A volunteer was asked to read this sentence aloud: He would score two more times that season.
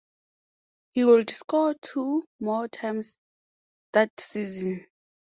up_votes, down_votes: 2, 0